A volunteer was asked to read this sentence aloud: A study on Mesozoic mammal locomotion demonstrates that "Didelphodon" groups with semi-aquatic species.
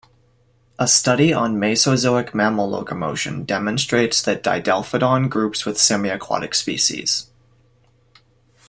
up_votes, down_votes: 2, 0